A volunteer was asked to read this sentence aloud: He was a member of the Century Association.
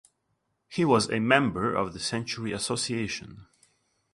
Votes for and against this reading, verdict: 2, 0, accepted